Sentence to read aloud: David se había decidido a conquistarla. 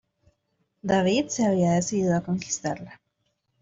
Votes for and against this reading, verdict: 2, 0, accepted